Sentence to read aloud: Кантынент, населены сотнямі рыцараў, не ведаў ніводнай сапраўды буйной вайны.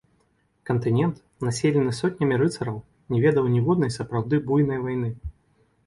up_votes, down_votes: 1, 2